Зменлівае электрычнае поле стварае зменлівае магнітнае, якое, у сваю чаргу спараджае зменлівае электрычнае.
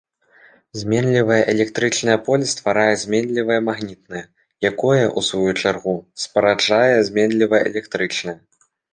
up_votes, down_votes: 2, 0